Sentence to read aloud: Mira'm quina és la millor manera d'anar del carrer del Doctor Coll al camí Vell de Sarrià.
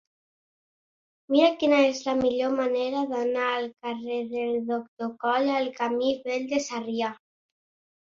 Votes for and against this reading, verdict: 1, 2, rejected